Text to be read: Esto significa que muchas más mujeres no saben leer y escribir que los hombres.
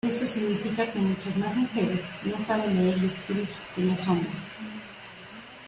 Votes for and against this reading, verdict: 1, 2, rejected